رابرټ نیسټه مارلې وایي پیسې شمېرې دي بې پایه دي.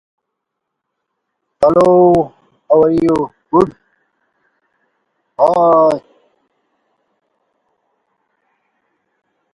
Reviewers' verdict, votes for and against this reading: rejected, 0, 2